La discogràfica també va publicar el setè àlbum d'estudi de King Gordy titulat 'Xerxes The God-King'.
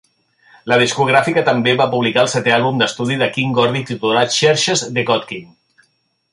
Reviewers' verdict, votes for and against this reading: accepted, 3, 0